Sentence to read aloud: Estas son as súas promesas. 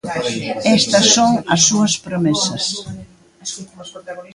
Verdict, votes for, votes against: rejected, 2, 3